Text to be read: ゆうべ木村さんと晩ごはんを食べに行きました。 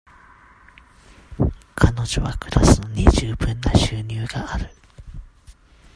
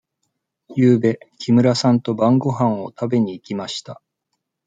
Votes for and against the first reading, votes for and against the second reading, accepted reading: 0, 2, 2, 0, second